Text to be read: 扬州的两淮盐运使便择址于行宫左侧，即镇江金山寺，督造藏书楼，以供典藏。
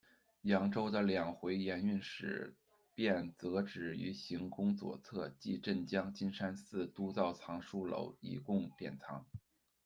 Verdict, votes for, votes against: rejected, 0, 2